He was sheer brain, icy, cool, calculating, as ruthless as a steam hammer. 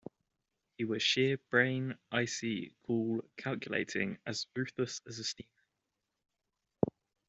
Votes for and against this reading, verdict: 0, 2, rejected